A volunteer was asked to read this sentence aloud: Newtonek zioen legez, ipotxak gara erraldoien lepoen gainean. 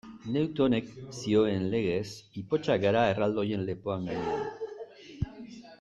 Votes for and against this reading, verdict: 0, 2, rejected